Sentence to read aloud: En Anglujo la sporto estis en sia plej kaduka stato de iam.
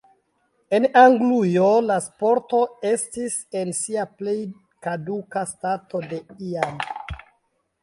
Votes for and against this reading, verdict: 2, 0, accepted